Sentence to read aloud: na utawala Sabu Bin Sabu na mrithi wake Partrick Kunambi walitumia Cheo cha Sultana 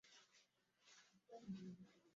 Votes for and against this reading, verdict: 0, 2, rejected